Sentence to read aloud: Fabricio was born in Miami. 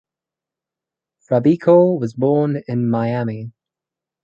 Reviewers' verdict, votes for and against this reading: rejected, 0, 2